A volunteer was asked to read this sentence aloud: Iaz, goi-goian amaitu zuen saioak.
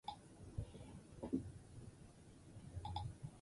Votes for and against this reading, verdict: 0, 6, rejected